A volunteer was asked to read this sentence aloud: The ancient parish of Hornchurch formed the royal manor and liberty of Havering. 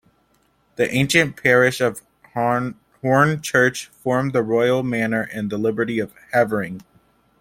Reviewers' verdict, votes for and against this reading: rejected, 1, 2